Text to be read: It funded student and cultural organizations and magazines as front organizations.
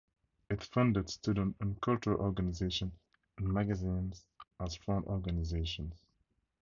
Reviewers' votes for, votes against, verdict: 2, 2, rejected